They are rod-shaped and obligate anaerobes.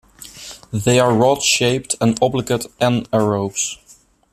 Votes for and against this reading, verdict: 2, 0, accepted